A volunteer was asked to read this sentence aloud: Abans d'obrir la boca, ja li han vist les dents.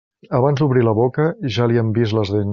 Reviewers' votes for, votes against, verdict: 1, 2, rejected